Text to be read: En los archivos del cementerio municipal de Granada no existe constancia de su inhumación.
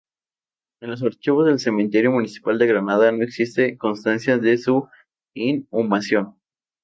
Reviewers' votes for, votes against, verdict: 0, 2, rejected